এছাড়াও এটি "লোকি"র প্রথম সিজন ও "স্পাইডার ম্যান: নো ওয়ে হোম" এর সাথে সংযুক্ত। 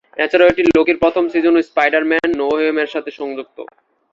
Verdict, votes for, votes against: accepted, 9, 4